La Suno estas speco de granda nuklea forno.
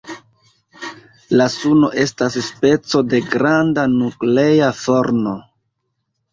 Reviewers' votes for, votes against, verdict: 1, 2, rejected